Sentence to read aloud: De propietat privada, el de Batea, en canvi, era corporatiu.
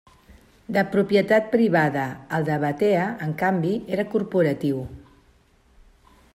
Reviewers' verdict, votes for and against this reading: accepted, 2, 0